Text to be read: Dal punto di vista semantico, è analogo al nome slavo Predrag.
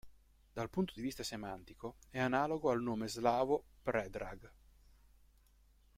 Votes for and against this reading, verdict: 2, 0, accepted